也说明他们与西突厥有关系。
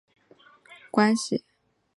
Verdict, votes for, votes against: rejected, 0, 3